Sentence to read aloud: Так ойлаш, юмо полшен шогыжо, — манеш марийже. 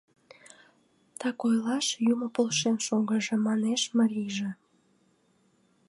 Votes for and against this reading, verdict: 2, 0, accepted